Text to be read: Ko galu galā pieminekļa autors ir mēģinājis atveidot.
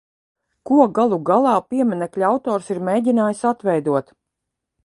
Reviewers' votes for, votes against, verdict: 2, 0, accepted